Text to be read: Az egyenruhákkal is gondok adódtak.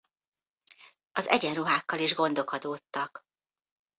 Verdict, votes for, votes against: accepted, 2, 0